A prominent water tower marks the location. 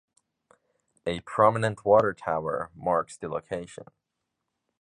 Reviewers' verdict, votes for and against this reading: accepted, 2, 0